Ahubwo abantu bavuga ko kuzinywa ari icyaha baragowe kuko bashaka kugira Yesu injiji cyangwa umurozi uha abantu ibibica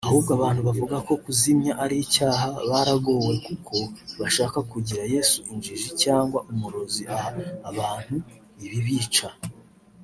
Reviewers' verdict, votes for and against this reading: rejected, 1, 2